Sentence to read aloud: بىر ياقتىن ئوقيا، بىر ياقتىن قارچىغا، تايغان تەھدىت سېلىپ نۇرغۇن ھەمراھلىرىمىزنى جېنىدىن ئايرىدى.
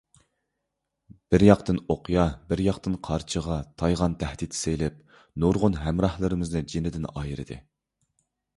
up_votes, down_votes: 3, 0